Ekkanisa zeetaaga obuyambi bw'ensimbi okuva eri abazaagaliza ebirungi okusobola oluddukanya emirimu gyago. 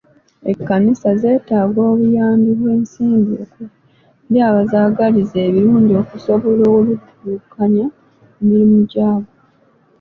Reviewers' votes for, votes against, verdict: 2, 1, accepted